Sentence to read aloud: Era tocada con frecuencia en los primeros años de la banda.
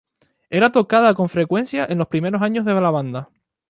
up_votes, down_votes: 2, 2